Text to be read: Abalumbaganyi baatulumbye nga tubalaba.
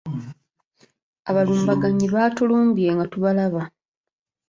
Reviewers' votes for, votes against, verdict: 2, 1, accepted